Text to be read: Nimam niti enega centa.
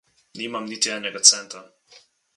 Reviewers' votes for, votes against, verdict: 2, 0, accepted